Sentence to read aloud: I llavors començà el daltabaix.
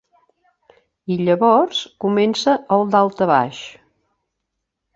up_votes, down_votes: 1, 2